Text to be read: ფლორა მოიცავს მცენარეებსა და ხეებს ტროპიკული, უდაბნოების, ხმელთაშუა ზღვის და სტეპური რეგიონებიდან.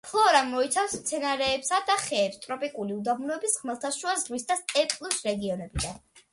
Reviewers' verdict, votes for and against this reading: rejected, 1, 2